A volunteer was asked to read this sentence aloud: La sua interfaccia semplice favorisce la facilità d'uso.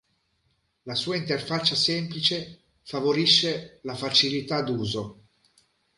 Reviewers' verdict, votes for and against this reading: accepted, 2, 0